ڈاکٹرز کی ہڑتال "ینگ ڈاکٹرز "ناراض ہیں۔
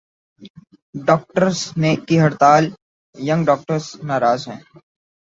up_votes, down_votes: 2, 2